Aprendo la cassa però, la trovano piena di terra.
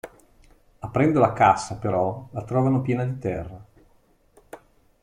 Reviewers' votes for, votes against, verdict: 2, 0, accepted